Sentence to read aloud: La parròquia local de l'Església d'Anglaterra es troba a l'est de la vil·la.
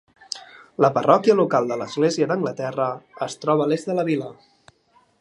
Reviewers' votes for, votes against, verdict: 2, 0, accepted